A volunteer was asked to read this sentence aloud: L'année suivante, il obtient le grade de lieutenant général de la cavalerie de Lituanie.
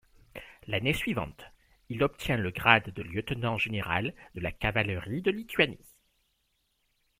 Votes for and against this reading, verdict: 2, 0, accepted